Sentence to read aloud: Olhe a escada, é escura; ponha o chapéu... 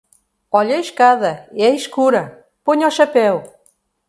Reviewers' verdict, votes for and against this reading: accepted, 2, 1